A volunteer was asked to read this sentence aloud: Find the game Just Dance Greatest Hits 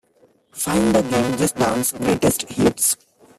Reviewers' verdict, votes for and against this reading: rejected, 0, 3